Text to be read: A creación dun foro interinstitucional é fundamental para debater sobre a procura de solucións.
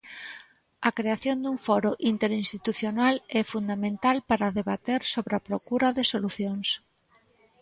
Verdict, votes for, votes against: accepted, 2, 0